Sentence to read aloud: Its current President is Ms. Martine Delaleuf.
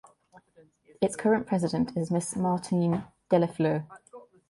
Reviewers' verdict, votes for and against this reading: rejected, 1, 2